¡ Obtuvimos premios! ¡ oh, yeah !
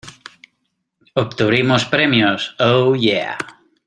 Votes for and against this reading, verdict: 2, 0, accepted